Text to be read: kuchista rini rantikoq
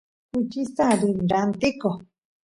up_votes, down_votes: 2, 0